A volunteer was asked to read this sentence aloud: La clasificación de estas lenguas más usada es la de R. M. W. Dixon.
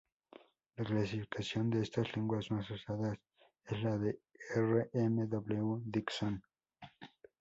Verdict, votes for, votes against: rejected, 0, 2